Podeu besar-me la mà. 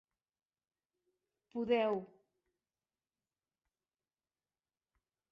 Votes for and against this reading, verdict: 1, 2, rejected